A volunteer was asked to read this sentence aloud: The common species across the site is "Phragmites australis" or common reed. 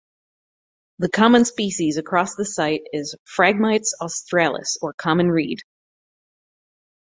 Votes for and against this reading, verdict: 2, 2, rejected